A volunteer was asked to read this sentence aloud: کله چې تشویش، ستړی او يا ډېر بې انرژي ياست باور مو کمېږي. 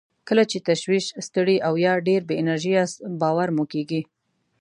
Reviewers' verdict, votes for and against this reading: rejected, 0, 2